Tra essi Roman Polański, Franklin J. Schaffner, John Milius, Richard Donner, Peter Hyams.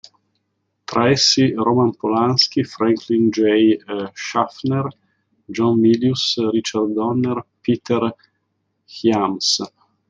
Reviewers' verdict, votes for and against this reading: rejected, 0, 2